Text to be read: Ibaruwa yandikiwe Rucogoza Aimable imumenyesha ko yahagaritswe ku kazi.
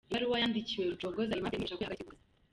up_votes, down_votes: 0, 2